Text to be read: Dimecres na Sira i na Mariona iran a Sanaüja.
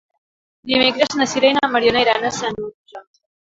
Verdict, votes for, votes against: rejected, 1, 3